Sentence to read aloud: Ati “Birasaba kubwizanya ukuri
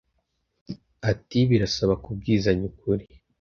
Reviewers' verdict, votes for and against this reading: accepted, 2, 0